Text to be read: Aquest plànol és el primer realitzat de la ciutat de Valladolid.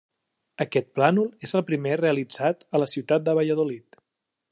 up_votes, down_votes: 2, 1